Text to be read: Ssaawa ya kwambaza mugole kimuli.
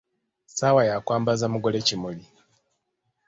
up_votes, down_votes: 2, 0